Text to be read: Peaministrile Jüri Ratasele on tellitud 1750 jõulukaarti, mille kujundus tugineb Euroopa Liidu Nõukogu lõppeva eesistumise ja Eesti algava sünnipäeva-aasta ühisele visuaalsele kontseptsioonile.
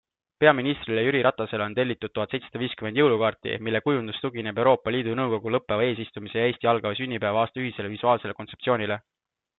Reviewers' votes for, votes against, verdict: 0, 2, rejected